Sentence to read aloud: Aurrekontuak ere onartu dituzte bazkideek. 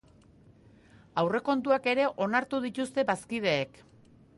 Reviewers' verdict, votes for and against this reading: accepted, 3, 1